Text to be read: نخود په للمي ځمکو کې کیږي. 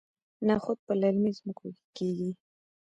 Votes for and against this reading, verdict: 2, 0, accepted